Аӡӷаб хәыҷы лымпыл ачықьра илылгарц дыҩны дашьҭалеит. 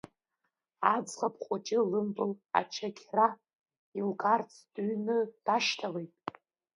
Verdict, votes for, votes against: rejected, 0, 2